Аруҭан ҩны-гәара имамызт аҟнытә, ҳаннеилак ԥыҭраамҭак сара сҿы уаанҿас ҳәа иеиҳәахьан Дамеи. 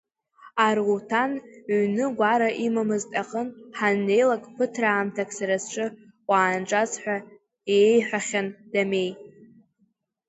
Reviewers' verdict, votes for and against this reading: rejected, 0, 2